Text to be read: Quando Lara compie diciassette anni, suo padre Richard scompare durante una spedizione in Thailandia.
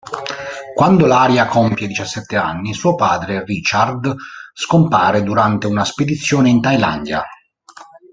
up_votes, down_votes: 0, 2